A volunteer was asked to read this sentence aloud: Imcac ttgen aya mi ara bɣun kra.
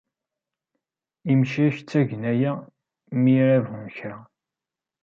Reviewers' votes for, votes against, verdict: 0, 2, rejected